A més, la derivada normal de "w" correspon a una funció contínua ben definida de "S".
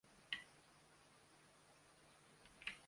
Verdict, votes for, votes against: rejected, 0, 2